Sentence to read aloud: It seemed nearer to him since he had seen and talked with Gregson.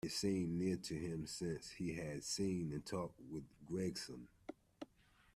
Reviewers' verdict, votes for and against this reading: rejected, 0, 2